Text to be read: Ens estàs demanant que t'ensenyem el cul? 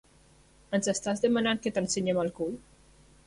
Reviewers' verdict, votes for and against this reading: accepted, 2, 0